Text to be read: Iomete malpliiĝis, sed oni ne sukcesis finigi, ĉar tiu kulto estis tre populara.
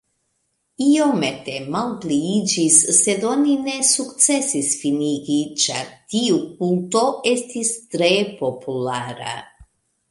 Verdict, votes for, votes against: rejected, 1, 2